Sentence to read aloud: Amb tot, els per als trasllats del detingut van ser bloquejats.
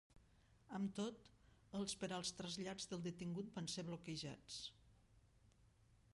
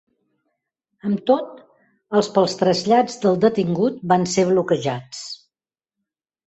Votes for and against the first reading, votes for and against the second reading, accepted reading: 2, 1, 0, 2, first